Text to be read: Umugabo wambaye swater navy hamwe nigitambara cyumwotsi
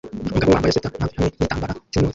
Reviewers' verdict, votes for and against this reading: rejected, 0, 2